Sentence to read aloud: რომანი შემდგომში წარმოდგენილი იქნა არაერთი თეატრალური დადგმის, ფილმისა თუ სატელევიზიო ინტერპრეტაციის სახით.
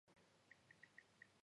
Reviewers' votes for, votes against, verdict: 0, 2, rejected